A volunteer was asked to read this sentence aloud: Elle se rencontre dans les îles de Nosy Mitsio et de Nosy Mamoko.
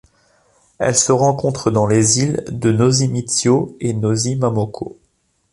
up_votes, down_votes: 2, 1